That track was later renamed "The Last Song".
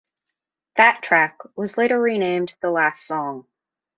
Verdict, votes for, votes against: accepted, 2, 0